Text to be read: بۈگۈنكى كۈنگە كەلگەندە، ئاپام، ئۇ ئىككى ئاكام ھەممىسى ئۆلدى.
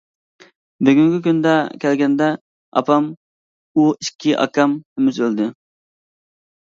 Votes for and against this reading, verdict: 0, 2, rejected